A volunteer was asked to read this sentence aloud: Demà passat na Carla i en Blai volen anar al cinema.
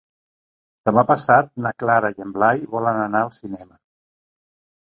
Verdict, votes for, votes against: rejected, 0, 2